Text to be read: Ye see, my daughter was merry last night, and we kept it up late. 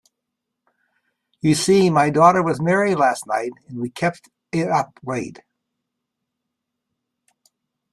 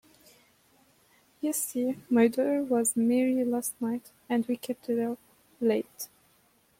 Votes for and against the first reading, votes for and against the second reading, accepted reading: 2, 1, 1, 2, first